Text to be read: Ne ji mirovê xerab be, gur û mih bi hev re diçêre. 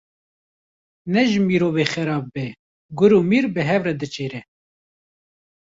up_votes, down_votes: 0, 2